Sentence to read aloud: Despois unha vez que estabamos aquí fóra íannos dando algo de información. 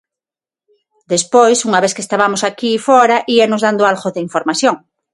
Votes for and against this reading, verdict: 6, 0, accepted